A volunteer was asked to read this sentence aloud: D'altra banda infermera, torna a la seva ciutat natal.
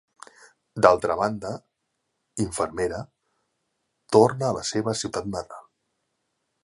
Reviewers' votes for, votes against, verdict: 1, 2, rejected